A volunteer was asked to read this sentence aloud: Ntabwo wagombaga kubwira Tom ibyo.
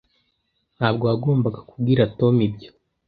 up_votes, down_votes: 2, 0